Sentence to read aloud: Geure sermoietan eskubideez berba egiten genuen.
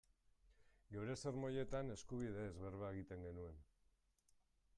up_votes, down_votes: 2, 1